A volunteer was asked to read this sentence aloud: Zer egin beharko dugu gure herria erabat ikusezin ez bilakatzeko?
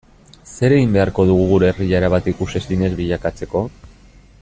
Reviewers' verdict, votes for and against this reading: rejected, 0, 2